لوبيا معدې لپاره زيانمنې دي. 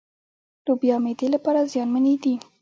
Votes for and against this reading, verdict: 0, 2, rejected